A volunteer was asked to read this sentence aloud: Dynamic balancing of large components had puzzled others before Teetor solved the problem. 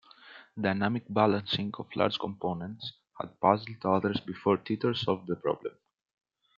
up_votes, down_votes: 0, 2